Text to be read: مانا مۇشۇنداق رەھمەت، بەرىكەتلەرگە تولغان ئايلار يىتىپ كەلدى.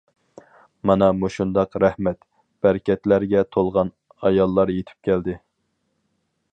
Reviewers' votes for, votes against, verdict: 0, 2, rejected